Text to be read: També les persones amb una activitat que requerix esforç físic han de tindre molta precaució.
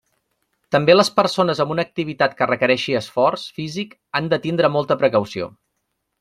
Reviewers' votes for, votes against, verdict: 1, 2, rejected